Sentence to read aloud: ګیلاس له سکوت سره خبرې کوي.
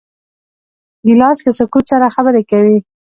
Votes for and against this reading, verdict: 1, 2, rejected